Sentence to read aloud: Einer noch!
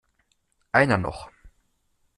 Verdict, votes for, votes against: accepted, 2, 0